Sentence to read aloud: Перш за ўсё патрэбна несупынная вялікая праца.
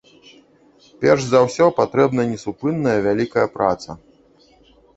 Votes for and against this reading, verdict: 1, 2, rejected